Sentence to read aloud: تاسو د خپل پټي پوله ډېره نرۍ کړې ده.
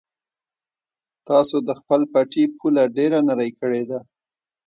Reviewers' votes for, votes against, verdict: 2, 0, accepted